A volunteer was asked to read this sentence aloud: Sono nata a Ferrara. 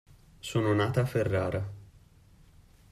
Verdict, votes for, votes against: accepted, 2, 0